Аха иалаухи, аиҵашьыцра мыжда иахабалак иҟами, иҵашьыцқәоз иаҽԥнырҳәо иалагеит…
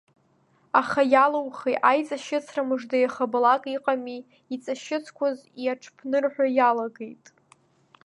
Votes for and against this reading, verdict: 2, 0, accepted